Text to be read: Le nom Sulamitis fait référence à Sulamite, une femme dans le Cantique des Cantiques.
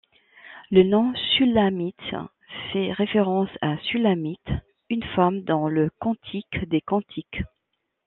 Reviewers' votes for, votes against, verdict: 1, 2, rejected